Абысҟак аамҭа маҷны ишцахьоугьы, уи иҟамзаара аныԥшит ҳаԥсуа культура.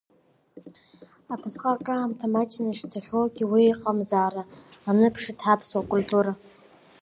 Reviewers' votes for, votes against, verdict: 2, 1, accepted